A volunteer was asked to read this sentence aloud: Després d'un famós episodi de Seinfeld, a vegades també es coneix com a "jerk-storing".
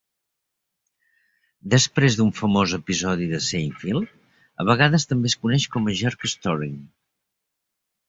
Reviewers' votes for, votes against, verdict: 2, 0, accepted